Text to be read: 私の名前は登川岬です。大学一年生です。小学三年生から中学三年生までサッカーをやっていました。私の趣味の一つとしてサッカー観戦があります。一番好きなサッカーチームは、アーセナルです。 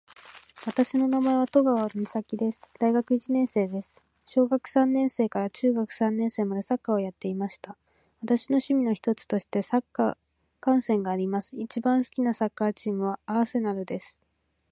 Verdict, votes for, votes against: accepted, 2, 1